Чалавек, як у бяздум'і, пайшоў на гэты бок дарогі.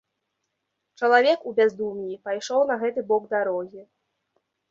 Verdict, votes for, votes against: rejected, 0, 2